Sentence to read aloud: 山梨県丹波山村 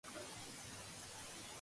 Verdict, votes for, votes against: rejected, 10, 33